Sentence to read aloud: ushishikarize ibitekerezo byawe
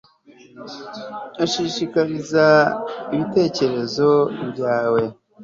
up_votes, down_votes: 2, 0